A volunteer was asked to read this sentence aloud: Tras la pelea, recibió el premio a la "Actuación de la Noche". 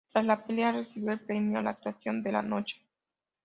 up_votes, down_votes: 2, 0